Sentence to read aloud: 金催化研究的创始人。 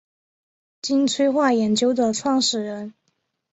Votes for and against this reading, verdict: 4, 0, accepted